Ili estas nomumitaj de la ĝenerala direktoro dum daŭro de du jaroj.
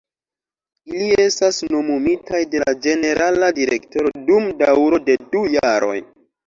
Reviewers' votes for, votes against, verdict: 2, 1, accepted